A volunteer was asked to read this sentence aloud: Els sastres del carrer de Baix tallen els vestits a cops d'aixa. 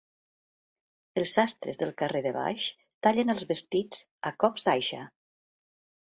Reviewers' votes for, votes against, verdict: 2, 0, accepted